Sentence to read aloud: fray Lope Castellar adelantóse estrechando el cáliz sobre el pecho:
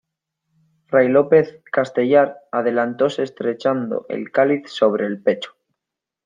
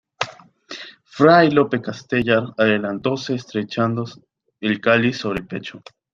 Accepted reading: first